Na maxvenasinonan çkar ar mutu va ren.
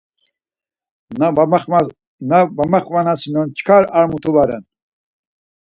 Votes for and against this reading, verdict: 2, 4, rejected